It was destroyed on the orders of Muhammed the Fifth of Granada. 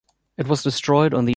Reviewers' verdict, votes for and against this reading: rejected, 0, 2